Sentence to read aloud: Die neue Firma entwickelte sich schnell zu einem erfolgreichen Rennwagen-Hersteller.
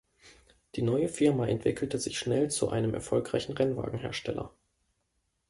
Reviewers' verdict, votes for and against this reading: accepted, 2, 0